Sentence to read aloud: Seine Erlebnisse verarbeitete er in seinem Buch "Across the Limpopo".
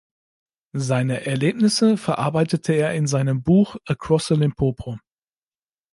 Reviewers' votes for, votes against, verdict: 2, 0, accepted